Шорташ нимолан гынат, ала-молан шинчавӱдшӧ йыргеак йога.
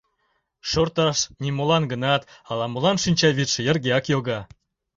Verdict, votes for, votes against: accepted, 2, 0